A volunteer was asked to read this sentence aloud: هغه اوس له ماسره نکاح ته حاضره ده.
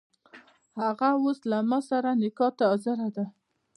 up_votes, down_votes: 2, 0